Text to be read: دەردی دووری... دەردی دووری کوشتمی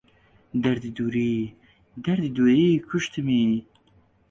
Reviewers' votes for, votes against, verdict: 2, 0, accepted